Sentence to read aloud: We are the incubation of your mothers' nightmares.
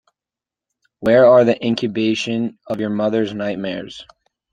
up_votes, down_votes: 1, 2